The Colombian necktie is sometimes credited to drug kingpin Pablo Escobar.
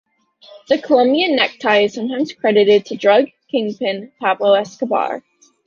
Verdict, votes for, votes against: accepted, 2, 0